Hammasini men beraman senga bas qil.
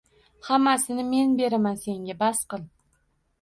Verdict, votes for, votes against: accepted, 2, 0